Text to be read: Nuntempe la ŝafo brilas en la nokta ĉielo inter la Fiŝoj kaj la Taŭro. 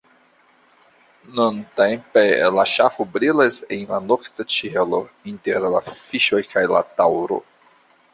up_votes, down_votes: 2, 1